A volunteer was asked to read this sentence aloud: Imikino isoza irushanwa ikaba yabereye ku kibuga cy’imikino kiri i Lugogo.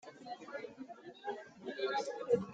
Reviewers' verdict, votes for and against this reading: rejected, 0, 2